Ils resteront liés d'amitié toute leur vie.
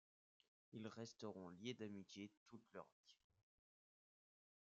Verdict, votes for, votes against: accepted, 2, 0